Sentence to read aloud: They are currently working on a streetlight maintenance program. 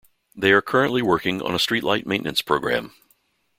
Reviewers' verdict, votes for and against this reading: accepted, 2, 0